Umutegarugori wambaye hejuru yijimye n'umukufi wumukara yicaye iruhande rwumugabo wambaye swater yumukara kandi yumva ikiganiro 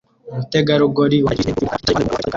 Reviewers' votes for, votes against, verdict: 0, 2, rejected